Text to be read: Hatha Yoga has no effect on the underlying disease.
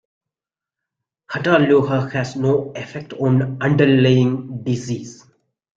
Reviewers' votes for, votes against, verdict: 1, 2, rejected